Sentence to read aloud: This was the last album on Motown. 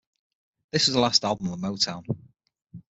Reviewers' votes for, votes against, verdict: 6, 0, accepted